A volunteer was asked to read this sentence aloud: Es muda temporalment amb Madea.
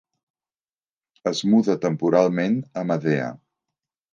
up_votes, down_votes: 1, 2